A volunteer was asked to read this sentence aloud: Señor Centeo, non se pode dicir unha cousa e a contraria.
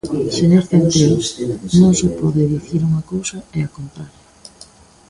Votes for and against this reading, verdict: 0, 2, rejected